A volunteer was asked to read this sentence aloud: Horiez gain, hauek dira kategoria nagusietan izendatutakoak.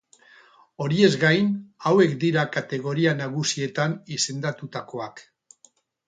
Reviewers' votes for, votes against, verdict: 2, 4, rejected